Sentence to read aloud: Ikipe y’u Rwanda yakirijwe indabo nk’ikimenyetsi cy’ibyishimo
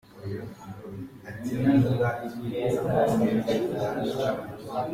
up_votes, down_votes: 0, 2